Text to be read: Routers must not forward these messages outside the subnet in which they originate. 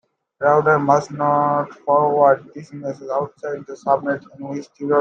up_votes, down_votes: 0, 2